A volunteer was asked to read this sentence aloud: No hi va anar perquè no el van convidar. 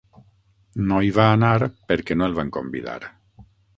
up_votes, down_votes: 9, 0